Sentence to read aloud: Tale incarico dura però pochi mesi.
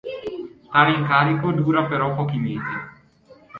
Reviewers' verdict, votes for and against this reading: accepted, 2, 0